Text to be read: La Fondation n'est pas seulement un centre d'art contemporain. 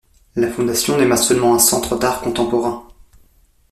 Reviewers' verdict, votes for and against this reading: rejected, 0, 2